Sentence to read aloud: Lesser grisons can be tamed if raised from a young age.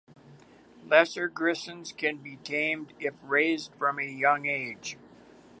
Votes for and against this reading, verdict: 2, 0, accepted